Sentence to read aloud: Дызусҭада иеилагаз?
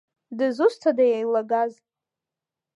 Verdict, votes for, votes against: accepted, 2, 0